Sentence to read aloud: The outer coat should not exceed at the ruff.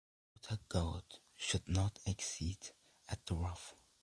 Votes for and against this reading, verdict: 2, 0, accepted